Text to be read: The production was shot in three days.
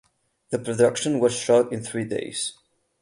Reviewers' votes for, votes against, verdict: 8, 0, accepted